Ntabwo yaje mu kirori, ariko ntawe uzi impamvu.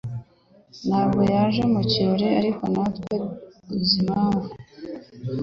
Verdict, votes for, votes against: accepted, 3, 0